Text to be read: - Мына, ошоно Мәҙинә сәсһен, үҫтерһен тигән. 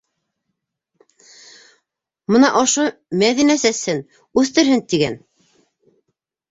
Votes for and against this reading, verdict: 1, 2, rejected